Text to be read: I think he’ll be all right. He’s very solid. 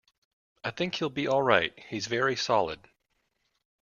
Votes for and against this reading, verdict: 2, 0, accepted